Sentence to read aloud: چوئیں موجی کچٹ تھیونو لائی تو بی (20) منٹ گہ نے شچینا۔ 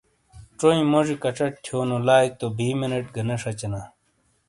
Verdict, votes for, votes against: rejected, 0, 2